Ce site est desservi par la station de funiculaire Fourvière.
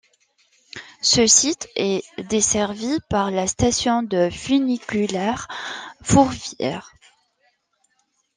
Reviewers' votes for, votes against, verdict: 2, 0, accepted